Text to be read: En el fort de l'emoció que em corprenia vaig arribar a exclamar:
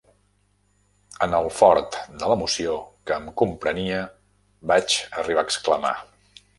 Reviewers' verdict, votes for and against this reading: rejected, 0, 2